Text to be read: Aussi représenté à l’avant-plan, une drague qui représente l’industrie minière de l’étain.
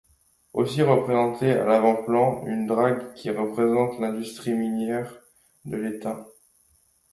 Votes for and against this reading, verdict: 2, 0, accepted